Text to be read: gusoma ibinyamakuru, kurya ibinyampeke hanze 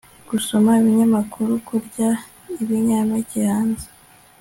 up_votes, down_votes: 2, 0